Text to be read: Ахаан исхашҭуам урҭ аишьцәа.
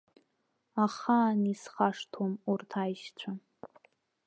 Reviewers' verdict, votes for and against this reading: accepted, 2, 0